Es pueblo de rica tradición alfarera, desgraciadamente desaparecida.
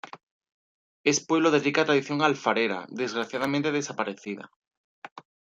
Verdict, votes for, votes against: accepted, 2, 0